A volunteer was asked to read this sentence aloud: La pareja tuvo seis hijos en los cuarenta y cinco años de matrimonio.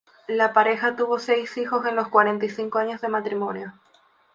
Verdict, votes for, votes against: accepted, 2, 0